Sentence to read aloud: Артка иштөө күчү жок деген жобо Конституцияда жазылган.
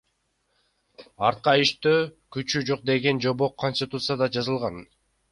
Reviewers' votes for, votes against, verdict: 1, 2, rejected